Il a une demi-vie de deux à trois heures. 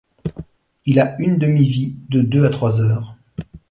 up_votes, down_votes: 2, 0